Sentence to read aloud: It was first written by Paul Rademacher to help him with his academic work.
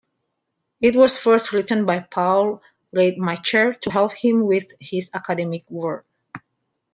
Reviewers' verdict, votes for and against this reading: accepted, 2, 1